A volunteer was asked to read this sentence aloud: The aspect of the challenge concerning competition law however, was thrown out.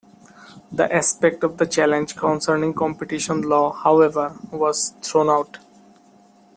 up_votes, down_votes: 2, 0